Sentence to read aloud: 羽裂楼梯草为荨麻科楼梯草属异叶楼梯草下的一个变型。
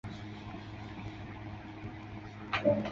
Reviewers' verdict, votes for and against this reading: rejected, 2, 2